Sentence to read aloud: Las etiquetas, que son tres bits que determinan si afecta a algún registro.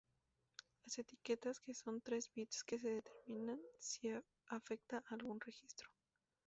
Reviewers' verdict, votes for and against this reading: rejected, 0, 2